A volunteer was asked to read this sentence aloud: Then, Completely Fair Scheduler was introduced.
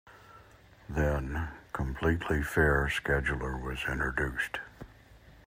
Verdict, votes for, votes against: accepted, 2, 0